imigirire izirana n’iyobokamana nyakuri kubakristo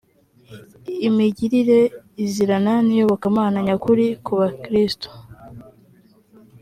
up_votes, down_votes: 2, 0